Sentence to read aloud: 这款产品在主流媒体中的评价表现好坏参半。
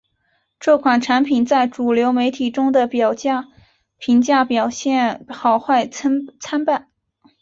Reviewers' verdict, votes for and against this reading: accepted, 3, 1